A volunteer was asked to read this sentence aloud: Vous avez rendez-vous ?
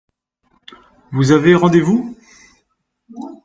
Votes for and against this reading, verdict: 2, 0, accepted